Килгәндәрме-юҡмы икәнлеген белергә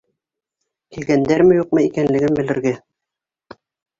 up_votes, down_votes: 1, 2